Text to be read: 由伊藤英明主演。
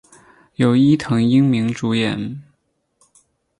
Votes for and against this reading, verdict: 6, 2, accepted